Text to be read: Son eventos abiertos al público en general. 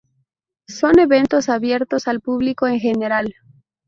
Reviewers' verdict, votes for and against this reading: rejected, 0, 2